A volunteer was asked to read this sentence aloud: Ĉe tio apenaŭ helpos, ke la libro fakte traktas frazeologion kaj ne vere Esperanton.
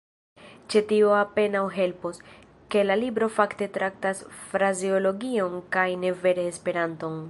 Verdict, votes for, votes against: accepted, 2, 0